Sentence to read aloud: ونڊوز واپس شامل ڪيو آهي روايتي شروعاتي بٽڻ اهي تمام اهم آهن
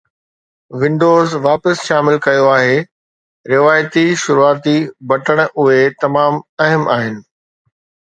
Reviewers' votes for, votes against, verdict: 2, 0, accepted